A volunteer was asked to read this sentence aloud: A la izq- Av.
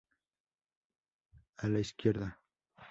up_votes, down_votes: 2, 0